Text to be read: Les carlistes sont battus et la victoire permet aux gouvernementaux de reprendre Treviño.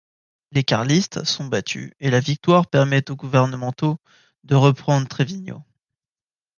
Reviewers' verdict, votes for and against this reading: accepted, 3, 0